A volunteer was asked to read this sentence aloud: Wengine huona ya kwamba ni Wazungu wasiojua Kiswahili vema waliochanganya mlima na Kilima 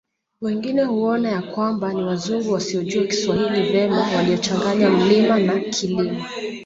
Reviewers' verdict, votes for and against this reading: rejected, 0, 2